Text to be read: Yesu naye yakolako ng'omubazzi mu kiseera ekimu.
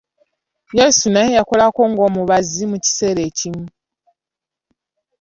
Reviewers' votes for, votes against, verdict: 2, 0, accepted